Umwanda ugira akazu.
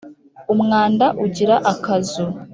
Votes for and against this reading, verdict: 2, 0, accepted